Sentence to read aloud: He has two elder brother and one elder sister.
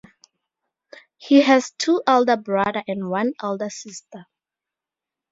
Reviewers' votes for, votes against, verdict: 2, 0, accepted